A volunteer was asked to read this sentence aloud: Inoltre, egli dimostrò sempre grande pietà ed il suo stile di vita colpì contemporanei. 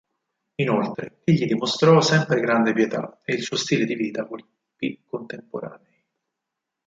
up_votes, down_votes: 2, 4